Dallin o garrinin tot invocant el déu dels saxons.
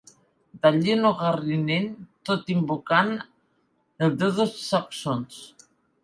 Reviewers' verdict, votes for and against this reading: rejected, 0, 2